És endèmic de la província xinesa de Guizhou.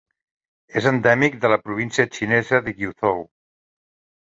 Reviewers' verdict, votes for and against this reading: rejected, 0, 2